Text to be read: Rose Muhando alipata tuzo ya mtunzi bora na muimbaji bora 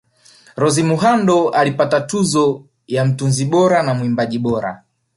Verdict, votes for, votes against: rejected, 0, 2